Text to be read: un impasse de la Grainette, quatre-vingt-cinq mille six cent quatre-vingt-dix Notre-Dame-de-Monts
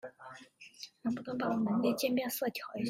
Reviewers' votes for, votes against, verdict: 0, 2, rejected